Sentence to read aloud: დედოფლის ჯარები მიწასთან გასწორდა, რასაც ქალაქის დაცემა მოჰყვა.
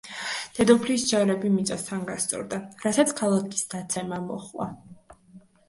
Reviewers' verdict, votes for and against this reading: accepted, 2, 0